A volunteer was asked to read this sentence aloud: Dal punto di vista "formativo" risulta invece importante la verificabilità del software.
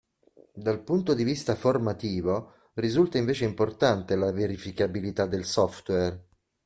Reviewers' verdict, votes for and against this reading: accepted, 2, 0